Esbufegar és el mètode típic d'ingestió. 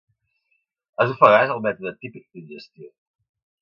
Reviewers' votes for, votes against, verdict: 0, 2, rejected